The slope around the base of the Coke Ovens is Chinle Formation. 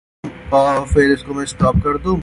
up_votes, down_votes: 0, 2